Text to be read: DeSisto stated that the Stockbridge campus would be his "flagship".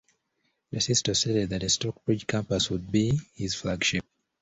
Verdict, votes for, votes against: accepted, 2, 0